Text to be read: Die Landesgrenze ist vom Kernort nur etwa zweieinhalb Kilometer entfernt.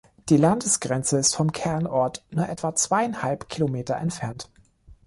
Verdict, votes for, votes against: accepted, 2, 0